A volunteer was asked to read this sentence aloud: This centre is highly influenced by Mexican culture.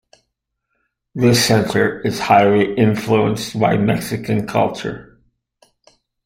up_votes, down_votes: 1, 2